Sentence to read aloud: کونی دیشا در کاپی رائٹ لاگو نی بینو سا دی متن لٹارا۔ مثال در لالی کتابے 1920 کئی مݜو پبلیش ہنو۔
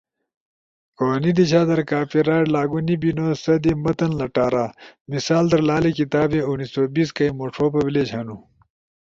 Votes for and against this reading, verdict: 0, 2, rejected